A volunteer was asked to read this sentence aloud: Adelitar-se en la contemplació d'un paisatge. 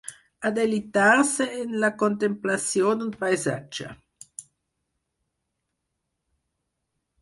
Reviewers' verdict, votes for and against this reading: accepted, 4, 0